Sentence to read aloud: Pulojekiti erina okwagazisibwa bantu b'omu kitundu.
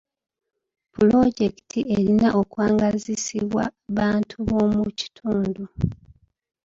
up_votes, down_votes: 1, 2